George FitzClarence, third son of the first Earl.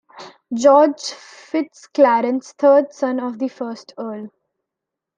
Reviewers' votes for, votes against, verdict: 2, 0, accepted